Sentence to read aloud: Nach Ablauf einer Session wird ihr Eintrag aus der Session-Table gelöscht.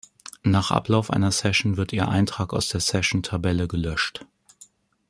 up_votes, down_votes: 0, 2